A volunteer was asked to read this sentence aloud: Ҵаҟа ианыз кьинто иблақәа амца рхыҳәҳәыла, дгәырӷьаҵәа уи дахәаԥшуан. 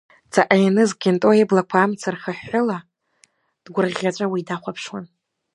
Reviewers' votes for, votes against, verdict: 2, 3, rejected